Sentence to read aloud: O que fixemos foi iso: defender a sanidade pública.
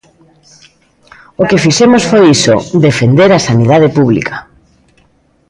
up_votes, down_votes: 2, 1